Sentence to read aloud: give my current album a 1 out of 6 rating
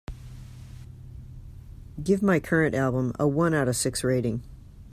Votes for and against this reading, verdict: 0, 2, rejected